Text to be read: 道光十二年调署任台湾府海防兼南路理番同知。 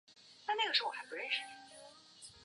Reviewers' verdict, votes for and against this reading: rejected, 1, 2